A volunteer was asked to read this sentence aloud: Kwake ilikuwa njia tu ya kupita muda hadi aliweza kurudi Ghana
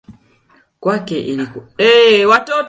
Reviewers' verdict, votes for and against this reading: rejected, 0, 2